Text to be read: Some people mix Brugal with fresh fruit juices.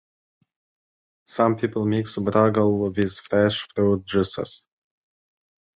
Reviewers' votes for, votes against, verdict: 2, 1, accepted